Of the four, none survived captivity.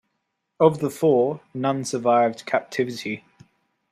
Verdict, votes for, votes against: accepted, 2, 0